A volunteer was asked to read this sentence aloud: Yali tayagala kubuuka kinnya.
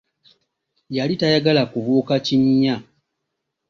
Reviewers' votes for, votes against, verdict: 2, 0, accepted